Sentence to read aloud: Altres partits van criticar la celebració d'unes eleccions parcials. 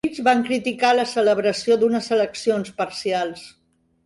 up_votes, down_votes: 0, 2